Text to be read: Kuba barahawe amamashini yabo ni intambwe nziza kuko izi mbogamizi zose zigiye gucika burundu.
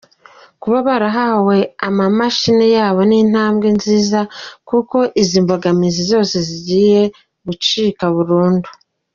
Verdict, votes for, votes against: accepted, 2, 0